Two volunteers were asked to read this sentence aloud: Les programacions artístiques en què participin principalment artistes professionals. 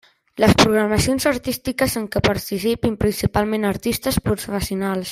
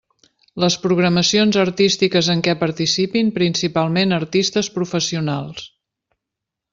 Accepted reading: second